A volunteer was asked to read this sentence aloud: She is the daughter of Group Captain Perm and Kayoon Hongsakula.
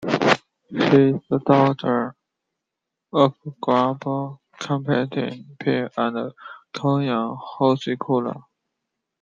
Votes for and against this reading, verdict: 0, 2, rejected